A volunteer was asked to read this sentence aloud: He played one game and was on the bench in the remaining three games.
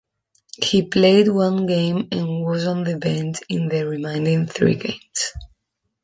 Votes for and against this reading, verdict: 1, 2, rejected